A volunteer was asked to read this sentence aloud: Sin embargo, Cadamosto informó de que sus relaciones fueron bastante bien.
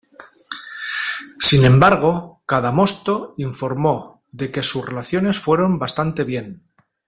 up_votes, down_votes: 2, 0